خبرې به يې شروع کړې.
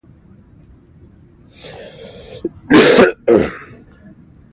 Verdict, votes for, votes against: rejected, 1, 2